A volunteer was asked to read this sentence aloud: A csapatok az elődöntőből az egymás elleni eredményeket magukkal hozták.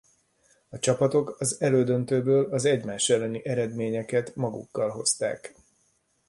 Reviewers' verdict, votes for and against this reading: accepted, 3, 0